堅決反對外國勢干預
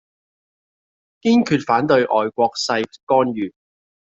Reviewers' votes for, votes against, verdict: 0, 2, rejected